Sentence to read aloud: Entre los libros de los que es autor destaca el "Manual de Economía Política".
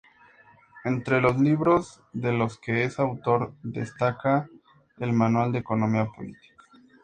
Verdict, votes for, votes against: accepted, 2, 0